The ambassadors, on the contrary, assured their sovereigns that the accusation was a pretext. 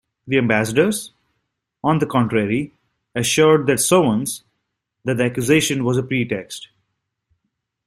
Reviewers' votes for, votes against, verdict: 1, 2, rejected